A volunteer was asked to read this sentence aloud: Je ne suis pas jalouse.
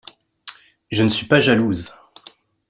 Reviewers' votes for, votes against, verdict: 2, 0, accepted